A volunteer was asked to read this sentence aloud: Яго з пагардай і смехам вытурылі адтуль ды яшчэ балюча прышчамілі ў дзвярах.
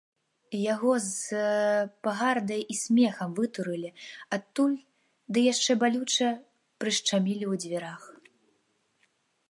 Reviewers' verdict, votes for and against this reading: accepted, 2, 0